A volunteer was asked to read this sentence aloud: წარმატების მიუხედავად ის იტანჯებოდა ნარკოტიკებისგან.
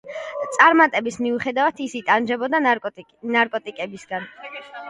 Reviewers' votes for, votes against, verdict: 1, 2, rejected